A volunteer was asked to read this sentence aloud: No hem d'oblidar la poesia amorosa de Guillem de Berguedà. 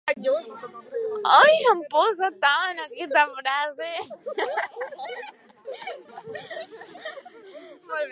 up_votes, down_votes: 0, 2